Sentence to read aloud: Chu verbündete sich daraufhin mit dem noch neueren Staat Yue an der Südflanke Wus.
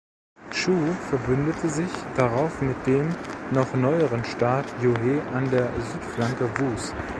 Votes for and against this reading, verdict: 0, 2, rejected